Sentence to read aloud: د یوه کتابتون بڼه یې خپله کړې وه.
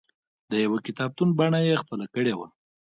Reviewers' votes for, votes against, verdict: 2, 0, accepted